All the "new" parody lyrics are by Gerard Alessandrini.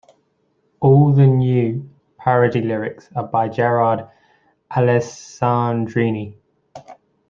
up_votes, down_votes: 1, 2